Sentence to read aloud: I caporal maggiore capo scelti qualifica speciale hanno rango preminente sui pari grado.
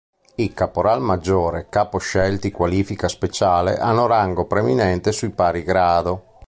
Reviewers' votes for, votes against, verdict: 2, 0, accepted